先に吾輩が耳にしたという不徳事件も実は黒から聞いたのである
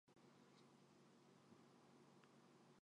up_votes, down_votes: 0, 2